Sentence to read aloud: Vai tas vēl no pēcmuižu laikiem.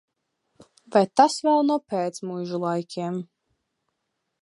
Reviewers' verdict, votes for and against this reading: accepted, 2, 0